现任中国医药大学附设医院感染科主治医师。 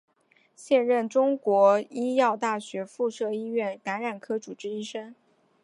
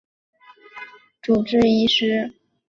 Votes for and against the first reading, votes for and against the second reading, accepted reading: 3, 0, 0, 2, first